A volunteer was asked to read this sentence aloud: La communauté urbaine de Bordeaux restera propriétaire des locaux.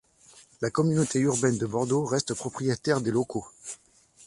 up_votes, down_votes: 1, 2